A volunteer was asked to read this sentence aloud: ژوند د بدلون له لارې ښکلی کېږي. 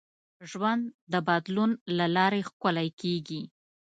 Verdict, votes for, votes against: accepted, 2, 0